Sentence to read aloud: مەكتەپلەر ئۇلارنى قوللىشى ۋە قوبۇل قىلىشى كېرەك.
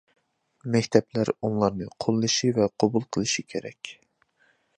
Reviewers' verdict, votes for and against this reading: rejected, 0, 2